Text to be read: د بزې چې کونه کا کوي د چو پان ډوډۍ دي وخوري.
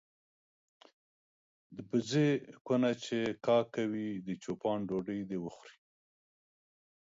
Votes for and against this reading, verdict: 0, 2, rejected